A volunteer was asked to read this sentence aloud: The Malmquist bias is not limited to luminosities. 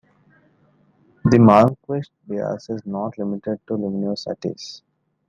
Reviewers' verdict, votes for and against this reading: rejected, 0, 2